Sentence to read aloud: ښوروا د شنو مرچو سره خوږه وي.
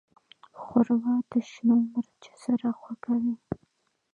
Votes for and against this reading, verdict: 0, 2, rejected